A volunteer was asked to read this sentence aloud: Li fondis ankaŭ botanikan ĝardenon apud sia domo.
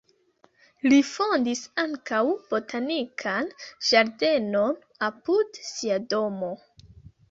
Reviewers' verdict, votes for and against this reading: rejected, 1, 3